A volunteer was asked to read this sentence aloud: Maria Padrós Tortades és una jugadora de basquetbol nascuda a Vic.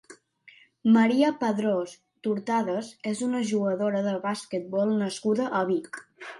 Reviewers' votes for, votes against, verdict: 2, 0, accepted